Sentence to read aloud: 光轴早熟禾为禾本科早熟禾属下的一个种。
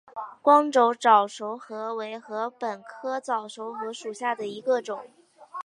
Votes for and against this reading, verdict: 3, 1, accepted